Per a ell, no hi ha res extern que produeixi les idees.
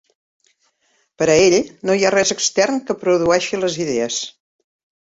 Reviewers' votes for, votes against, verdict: 4, 0, accepted